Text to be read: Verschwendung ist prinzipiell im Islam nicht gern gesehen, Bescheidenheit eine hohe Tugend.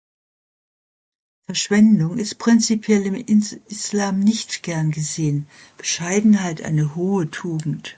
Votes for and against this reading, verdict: 1, 2, rejected